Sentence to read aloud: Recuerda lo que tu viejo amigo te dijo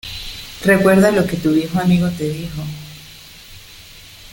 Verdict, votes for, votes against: accepted, 2, 0